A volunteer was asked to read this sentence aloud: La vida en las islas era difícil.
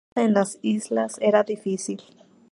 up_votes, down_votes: 0, 2